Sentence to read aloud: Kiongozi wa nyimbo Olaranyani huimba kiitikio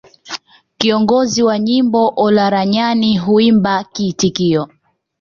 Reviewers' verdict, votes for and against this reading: accepted, 2, 1